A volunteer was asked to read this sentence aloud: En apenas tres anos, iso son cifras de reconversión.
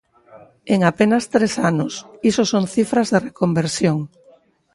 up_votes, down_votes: 4, 0